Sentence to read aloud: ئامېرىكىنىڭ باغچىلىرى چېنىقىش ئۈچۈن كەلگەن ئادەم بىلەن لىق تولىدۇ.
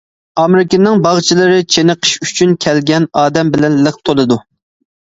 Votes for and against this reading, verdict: 2, 0, accepted